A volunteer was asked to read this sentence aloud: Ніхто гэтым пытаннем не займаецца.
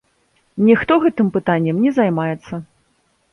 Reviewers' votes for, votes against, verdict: 2, 0, accepted